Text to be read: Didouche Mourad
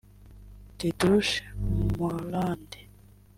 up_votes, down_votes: 1, 2